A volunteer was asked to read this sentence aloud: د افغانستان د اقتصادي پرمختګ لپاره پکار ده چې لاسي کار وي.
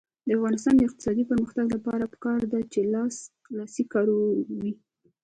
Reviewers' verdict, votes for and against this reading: rejected, 1, 2